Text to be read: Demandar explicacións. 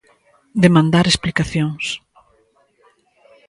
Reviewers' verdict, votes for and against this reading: rejected, 1, 2